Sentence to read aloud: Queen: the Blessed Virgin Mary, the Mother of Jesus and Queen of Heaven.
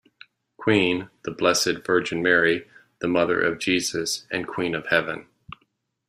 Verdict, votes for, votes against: accepted, 2, 0